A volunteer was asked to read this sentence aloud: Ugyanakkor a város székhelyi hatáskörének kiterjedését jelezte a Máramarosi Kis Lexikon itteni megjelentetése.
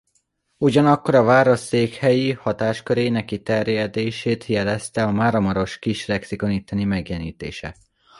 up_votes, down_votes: 2, 0